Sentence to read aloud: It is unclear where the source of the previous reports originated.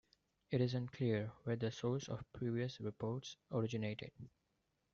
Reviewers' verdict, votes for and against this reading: rejected, 0, 2